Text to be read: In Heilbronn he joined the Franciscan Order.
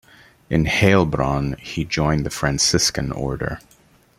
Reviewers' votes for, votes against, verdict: 2, 0, accepted